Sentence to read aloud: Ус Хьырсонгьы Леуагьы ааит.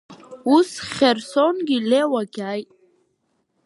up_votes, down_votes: 1, 2